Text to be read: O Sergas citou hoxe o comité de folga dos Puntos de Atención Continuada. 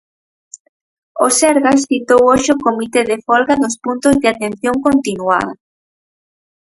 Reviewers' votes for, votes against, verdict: 0, 4, rejected